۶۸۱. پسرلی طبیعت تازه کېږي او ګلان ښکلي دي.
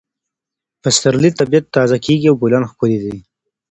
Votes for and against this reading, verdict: 0, 2, rejected